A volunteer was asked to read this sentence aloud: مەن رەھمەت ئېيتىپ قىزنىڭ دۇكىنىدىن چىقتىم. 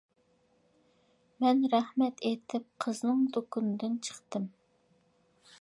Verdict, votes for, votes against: accepted, 2, 0